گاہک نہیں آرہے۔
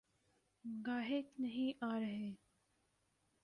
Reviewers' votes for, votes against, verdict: 0, 2, rejected